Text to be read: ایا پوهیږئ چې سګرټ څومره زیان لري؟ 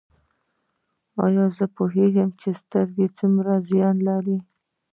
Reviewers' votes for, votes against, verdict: 1, 2, rejected